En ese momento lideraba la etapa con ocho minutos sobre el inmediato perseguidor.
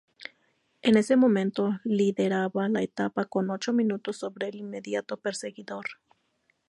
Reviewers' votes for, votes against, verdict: 2, 0, accepted